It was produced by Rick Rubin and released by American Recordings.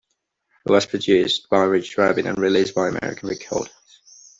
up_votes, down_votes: 0, 2